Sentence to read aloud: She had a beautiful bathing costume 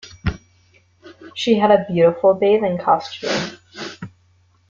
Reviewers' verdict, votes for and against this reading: accepted, 2, 0